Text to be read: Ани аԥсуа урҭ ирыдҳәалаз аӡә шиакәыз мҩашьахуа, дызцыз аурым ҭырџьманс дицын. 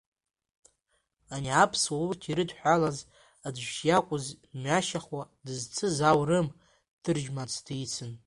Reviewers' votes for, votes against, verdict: 1, 2, rejected